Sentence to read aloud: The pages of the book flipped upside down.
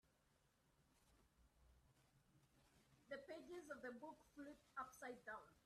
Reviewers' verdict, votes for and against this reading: rejected, 0, 2